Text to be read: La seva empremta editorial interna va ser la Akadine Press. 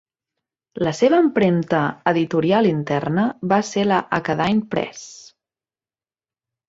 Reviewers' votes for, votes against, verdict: 2, 0, accepted